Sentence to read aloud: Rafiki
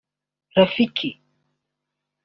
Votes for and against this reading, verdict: 1, 2, rejected